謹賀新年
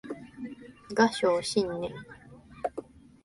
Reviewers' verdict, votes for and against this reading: rejected, 0, 2